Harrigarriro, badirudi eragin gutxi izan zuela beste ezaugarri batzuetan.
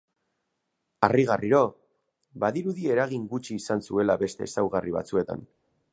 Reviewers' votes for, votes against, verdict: 8, 0, accepted